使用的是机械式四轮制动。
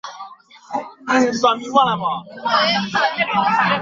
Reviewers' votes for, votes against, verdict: 0, 2, rejected